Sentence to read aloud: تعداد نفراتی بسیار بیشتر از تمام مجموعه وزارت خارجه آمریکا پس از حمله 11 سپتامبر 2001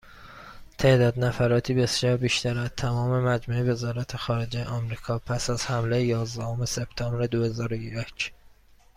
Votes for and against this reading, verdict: 0, 2, rejected